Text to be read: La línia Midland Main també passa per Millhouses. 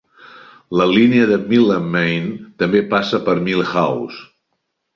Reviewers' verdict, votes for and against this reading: rejected, 0, 2